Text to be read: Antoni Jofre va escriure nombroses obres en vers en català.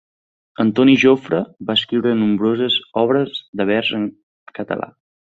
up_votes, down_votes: 0, 2